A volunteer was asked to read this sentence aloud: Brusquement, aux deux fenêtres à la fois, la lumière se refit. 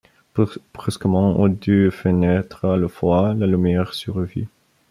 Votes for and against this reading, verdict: 1, 2, rejected